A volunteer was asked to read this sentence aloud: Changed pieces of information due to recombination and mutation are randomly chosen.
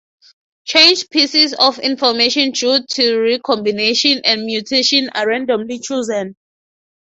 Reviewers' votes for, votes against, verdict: 6, 0, accepted